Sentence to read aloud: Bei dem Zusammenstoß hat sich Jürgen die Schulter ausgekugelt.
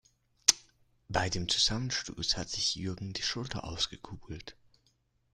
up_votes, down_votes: 1, 2